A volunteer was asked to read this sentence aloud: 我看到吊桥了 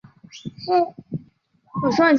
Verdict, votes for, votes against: accepted, 3, 1